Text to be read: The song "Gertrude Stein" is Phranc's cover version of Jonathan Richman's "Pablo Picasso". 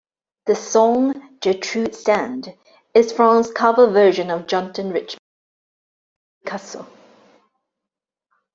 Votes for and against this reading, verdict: 1, 2, rejected